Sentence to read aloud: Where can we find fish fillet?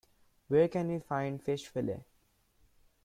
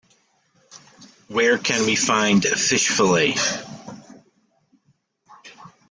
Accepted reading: first